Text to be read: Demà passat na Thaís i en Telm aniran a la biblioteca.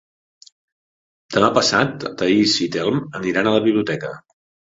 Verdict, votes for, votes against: rejected, 1, 2